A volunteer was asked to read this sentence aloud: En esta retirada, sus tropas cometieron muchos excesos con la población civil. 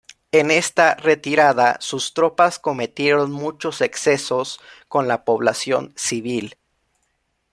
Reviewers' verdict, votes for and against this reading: accepted, 2, 0